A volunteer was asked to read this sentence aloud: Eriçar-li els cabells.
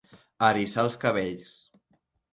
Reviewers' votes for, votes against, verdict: 0, 3, rejected